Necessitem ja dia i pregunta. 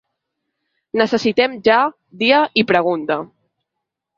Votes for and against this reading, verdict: 3, 0, accepted